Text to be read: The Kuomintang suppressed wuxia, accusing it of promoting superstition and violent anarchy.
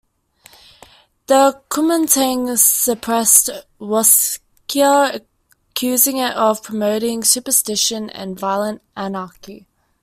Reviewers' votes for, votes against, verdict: 0, 2, rejected